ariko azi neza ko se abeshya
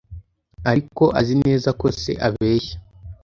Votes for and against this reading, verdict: 2, 0, accepted